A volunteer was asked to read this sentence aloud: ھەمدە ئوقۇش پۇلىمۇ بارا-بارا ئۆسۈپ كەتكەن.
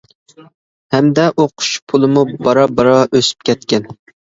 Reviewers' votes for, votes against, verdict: 2, 0, accepted